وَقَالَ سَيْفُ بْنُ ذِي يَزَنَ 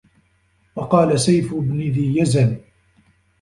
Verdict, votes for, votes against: rejected, 1, 2